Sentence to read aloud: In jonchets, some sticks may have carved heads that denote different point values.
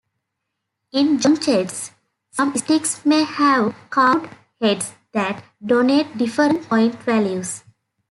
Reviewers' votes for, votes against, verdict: 0, 2, rejected